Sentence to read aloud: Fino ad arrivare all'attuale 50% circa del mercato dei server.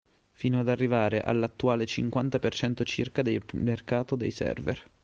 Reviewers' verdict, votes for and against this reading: rejected, 0, 2